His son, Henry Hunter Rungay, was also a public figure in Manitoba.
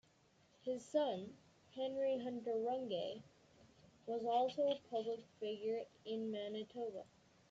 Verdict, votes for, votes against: rejected, 1, 2